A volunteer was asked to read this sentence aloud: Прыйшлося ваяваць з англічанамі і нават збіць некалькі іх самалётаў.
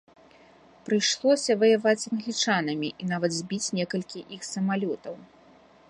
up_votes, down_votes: 1, 2